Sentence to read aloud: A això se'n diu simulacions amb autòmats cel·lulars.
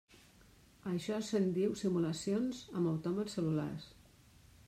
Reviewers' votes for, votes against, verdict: 0, 2, rejected